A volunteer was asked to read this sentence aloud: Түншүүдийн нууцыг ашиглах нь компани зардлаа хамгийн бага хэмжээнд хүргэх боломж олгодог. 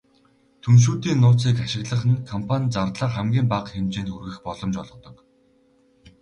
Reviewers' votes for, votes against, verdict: 2, 0, accepted